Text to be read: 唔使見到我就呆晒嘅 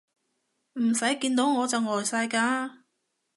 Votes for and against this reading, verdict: 1, 3, rejected